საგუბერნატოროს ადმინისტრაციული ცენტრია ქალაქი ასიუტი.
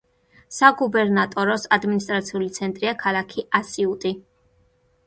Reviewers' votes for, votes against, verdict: 2, 0, accepted